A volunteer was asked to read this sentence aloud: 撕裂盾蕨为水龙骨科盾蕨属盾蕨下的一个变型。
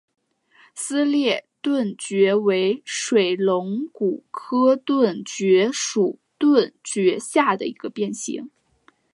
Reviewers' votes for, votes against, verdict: 3, 0, accepted